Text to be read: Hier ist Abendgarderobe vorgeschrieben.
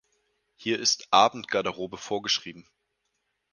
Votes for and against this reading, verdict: 4, 0, accepted